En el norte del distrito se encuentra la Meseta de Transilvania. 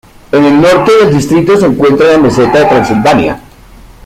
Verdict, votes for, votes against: rejected, 1, 2